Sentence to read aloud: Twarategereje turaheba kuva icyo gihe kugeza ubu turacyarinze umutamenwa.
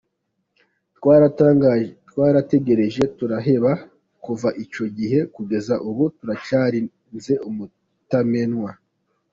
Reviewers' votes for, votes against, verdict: 0, 2, rejected